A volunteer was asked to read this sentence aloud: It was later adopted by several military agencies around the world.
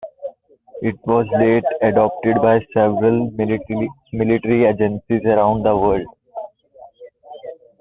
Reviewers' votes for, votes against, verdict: 0, 2, rejected